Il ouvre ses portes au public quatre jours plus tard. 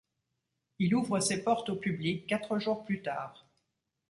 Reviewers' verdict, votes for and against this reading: accepted, 2, 0